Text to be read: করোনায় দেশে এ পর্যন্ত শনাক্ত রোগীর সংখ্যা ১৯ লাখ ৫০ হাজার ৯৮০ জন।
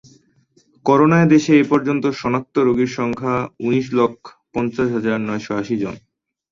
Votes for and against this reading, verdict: 0, 2, rejected